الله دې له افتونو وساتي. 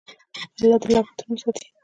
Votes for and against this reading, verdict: 1, 2, rejected